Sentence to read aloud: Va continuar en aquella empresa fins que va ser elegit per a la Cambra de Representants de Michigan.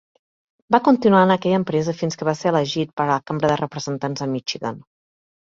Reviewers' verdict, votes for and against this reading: rejected, 2, 3